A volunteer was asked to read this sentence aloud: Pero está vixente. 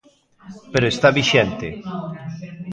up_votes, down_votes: 1, 2